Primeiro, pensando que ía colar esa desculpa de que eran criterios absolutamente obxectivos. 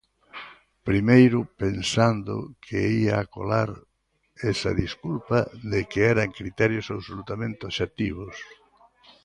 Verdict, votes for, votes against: rejected, 1, 2